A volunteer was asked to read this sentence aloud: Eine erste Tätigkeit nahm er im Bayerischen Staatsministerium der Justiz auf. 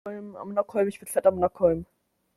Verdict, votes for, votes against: rejected, 0, 2